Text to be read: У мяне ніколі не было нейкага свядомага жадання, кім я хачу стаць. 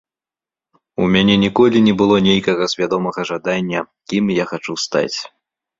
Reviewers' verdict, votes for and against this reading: accepted, 2, 0